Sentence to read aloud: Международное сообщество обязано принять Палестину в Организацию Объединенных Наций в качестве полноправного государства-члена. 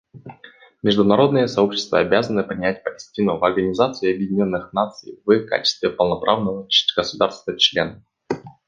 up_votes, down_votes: 2, 0